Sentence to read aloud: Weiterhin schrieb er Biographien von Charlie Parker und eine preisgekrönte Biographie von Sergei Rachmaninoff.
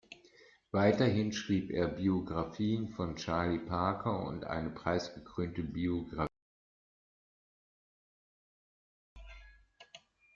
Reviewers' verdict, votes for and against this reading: rejected, 0, 2